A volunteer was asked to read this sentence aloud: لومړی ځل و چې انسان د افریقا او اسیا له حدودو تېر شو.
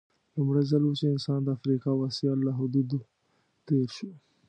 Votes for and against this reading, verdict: 2, 0, accepted